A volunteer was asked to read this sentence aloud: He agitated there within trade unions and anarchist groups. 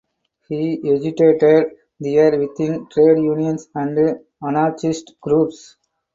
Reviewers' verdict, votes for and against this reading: rejected, 0, 2